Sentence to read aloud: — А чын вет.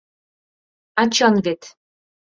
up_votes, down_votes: 2, 0